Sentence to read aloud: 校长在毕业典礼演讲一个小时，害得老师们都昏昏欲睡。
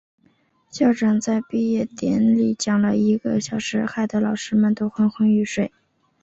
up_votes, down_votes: 0, 2